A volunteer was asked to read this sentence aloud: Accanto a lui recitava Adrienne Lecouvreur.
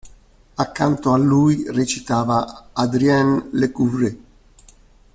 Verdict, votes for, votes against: rejected, 1, 2